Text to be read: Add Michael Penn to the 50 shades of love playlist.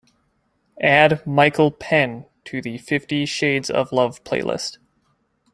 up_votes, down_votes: 0, 2